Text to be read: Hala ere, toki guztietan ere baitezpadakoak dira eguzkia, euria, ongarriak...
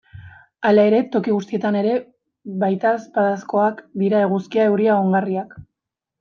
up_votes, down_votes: 0, 2